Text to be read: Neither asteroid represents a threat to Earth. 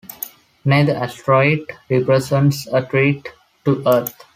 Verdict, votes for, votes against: accepted, 2, 0